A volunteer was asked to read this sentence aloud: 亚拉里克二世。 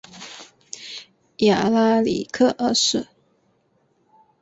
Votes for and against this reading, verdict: 2, 0, accepted